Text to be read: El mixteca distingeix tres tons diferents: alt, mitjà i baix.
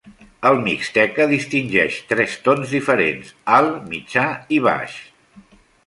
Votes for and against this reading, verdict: 2, 0, accepted